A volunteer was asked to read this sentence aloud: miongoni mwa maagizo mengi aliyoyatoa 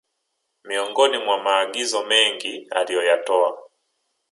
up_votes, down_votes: 3, 2